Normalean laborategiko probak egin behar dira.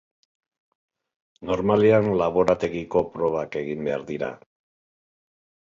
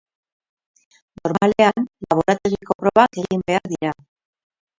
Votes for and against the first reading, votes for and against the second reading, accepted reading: 2, 0, 0, 6, first